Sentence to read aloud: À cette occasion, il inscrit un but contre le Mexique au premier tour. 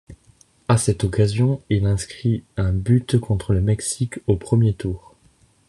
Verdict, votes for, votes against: accepted, 2, 0